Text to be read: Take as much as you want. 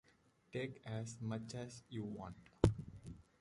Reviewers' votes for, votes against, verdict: 2, 0, accepted